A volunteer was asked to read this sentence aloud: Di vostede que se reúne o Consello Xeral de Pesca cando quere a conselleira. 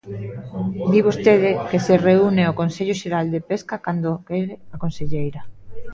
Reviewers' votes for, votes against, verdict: 0, 2, rejected